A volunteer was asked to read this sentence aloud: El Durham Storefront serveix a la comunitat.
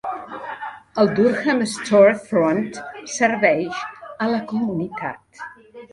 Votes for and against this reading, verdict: 2, 3, rejected